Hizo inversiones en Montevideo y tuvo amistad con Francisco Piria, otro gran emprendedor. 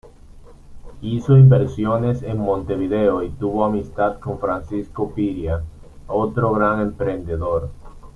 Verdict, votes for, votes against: accepted, 2, 0